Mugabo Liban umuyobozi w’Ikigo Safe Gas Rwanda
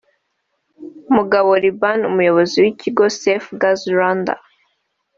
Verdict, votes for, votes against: accepted, 2, 0